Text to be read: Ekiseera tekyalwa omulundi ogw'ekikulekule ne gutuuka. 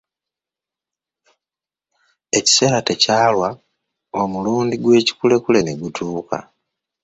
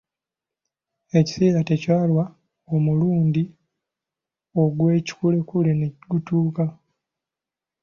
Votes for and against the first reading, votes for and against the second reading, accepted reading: 1, 2, 2, 0, second